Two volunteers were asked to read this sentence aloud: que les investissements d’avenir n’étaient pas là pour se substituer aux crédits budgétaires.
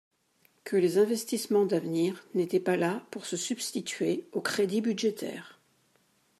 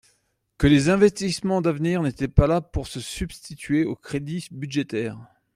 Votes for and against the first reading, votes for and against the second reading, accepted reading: 2, 0, 0, 2, first